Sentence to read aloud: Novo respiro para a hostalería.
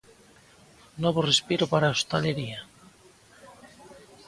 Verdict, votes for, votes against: accepted, 2, 0